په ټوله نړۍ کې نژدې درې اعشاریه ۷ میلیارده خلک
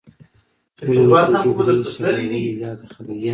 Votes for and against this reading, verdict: 0, 2, rejected